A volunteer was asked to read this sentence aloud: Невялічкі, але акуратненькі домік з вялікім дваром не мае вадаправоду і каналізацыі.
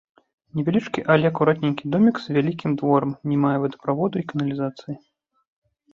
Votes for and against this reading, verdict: 0, 2, rejected